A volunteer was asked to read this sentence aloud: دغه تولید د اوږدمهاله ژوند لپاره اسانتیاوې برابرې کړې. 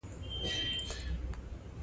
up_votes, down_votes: 0, 2